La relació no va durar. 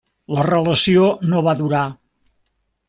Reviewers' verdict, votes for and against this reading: accepted, 3, 0